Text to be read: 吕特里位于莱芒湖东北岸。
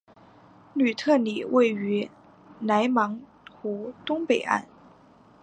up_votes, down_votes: 3, 0